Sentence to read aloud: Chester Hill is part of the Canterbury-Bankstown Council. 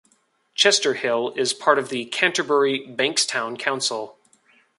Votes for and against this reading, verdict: 2, 0, accepted